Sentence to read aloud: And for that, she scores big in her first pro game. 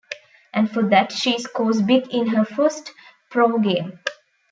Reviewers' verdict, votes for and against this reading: accepted, 2, 0